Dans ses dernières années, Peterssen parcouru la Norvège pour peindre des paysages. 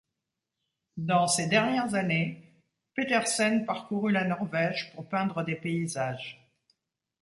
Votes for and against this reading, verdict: 2, 0, accepted